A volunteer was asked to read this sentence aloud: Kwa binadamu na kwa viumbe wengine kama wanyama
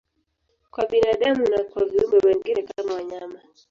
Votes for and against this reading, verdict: 0, 2, rejected